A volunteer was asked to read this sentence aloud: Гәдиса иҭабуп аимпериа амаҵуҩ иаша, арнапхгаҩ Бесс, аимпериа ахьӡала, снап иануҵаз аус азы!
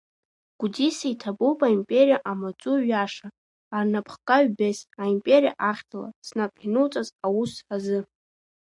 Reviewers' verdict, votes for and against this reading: accepted, 2, 1